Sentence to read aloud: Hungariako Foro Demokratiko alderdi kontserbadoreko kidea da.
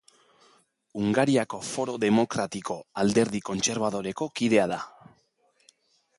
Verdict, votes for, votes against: accepted, 4, 0